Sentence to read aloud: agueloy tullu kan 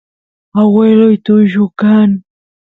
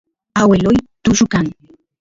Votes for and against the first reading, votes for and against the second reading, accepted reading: 2, 0, 1, 2, first